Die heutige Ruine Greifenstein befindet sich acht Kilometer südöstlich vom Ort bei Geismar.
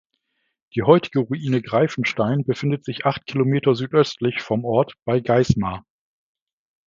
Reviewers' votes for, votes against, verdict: 2, 0, accepted